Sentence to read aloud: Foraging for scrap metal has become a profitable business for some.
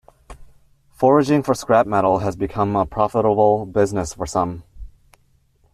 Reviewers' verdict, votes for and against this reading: accepted, 2, 0